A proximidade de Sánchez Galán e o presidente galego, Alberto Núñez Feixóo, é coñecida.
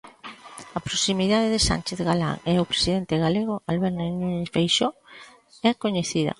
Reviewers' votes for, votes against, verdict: 0, 2, rejected